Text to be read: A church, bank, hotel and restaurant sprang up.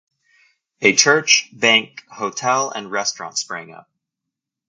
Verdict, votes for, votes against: accepted, 2, 0